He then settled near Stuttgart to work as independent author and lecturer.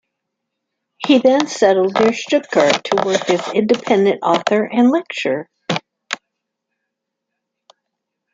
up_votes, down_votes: 0, 2